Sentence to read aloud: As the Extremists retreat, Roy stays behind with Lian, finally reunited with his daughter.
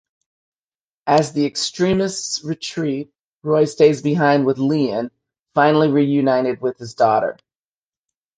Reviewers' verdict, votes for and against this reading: accepted, 2, 0